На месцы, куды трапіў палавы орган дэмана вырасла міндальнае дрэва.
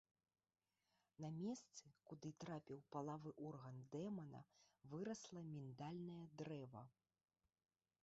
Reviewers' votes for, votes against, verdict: 1, 2, rejected